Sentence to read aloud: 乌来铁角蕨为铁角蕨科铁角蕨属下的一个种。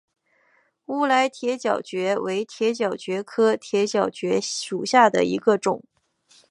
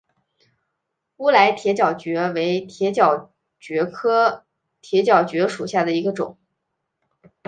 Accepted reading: second